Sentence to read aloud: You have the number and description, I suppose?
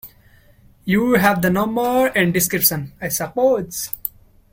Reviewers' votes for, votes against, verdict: 1, 2, rejected